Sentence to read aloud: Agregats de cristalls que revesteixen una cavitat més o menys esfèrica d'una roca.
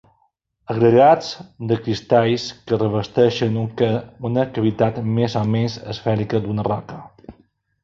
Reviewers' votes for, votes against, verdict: 0, 2, rejected